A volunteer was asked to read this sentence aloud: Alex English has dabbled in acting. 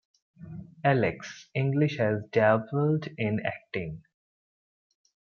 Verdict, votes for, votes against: accepted, 2, 1